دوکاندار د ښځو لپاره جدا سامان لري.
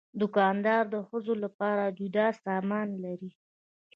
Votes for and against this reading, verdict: 1, 2, rejected